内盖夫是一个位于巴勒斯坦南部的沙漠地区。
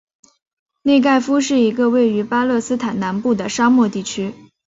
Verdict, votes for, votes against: accepted, 4, 0